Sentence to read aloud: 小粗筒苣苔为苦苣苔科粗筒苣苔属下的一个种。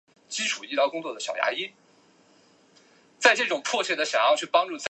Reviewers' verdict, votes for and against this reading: rejected, 0, 2